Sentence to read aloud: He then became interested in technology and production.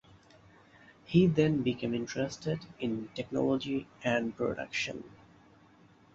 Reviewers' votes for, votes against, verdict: 2, 0, accepted